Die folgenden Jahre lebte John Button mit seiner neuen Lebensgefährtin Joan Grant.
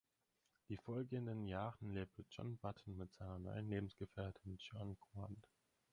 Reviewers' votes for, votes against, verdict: 4, 6, rejected